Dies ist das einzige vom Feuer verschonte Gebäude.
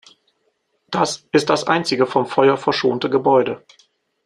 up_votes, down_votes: 0, 2